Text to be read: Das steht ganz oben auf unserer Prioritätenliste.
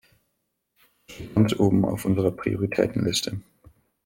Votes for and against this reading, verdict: 1, 2, rejected